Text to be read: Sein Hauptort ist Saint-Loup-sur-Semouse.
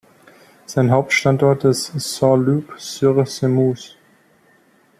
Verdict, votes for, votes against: rejected, 1, 2